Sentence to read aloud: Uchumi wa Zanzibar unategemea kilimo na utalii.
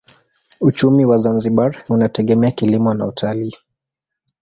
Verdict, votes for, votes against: accepted, 2, 0